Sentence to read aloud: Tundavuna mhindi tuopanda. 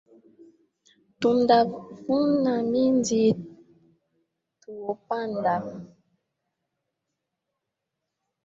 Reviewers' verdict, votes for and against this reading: rejected, 0, 2